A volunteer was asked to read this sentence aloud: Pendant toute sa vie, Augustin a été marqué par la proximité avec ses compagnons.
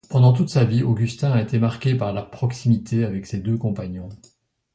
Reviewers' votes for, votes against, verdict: 1, 2, rejected